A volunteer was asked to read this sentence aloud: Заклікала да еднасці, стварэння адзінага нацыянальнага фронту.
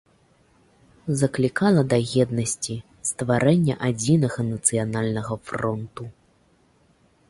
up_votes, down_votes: 2, 0